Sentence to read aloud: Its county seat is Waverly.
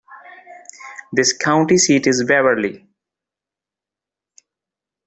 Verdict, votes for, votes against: rejected, 1, 2